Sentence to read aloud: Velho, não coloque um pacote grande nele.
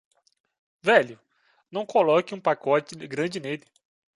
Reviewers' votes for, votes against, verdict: 2, 0, accepted